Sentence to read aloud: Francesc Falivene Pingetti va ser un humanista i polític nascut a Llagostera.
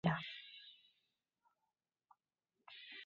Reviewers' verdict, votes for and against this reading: rejected, 0, 2